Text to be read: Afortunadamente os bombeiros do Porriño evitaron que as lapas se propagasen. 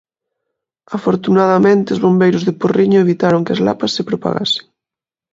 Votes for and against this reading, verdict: 2, 1, accepted